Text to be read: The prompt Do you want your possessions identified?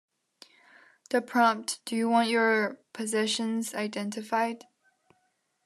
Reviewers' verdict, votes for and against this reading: accepted, 2, 0